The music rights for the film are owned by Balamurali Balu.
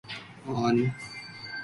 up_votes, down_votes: 0, 2